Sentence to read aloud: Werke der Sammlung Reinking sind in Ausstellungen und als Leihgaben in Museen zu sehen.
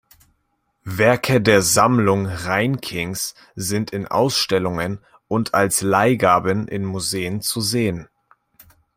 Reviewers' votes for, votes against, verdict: 0, 2, rejected